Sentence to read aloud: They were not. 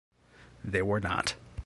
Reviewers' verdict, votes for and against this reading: accepted, 2, 0